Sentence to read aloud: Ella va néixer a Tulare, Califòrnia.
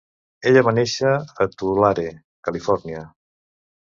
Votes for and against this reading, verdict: 2, 0, accepted